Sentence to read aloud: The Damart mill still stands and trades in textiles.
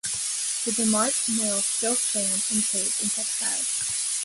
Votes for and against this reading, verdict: 1, 2, rejected